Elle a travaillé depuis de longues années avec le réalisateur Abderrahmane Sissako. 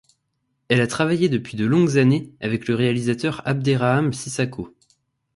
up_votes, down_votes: 0, 2